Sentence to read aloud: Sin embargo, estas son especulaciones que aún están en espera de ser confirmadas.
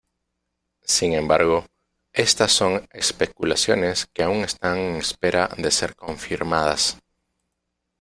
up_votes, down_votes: 2, 0